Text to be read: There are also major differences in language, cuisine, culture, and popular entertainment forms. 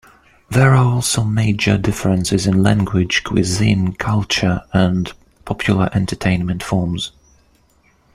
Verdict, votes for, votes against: accepted, 2, 0